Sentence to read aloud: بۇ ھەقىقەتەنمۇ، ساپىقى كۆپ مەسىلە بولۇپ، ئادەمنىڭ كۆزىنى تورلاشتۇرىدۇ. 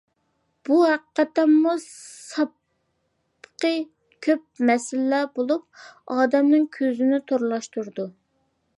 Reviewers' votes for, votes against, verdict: 0, 2, rejected